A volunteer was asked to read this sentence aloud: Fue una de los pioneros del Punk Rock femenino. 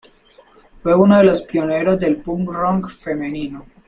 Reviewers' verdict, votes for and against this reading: rejected, 0, 2